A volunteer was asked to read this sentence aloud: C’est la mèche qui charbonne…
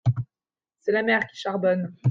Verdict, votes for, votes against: rejected, 0, 2